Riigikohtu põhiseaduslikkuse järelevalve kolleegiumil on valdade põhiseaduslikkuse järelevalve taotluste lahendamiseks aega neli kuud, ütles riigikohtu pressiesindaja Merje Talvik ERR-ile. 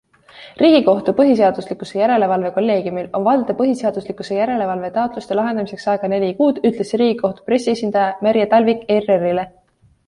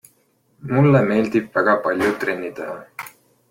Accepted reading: first